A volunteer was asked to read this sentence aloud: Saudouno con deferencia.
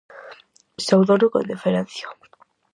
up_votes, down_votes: 4, 0